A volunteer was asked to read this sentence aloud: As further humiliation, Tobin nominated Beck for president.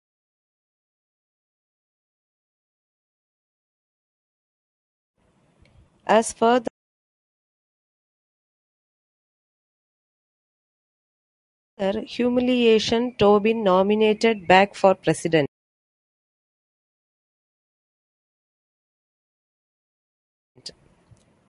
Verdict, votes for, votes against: rejected, 1, 2